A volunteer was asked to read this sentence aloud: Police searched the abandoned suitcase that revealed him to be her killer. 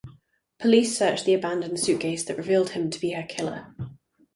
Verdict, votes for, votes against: accepted, 4, 0